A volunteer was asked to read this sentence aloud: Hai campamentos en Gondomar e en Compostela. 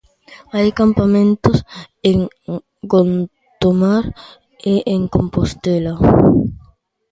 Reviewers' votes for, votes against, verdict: 0, 3, rejected